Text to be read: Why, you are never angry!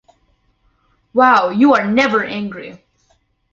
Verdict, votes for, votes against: rejected, 1, 2